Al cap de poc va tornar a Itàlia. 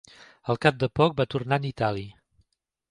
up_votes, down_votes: 0, 2